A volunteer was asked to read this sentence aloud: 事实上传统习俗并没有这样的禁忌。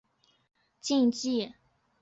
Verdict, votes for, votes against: rejected, 0, 2